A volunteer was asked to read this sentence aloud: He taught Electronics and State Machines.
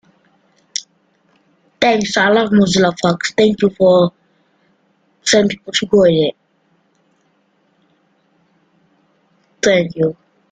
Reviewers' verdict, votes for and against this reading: rejected, 0, 2